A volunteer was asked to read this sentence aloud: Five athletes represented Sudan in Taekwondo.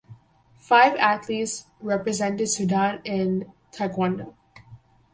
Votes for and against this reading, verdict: 4, 0, accepted